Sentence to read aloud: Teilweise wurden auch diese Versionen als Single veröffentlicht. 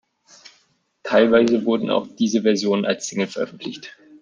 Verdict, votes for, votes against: accepted, 2, 0